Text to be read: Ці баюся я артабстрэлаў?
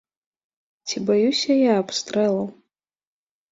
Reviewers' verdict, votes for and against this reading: rejected, 0, 2